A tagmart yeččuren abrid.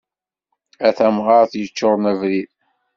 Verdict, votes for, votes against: rejected, 1, 2